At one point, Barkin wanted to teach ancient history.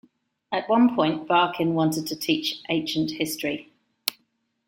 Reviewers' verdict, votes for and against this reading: accepted, 2, 0